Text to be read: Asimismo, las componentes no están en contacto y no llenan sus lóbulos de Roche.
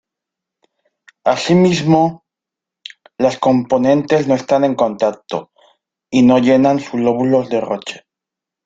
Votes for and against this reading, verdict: 2, 0, accepted